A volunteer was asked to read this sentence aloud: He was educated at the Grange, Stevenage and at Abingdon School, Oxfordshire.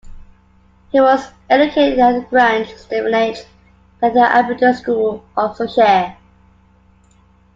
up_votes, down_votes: 2, 1